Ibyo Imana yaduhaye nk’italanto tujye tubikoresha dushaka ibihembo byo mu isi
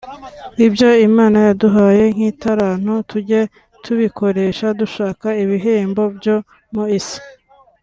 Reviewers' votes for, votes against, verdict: 1, 2, rejected